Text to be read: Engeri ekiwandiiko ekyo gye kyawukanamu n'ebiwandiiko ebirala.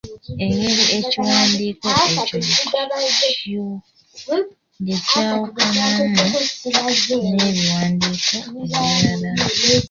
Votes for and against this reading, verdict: 0, 2, rejected